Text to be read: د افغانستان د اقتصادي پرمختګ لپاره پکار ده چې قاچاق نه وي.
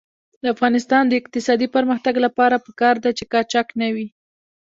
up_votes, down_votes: 2, 0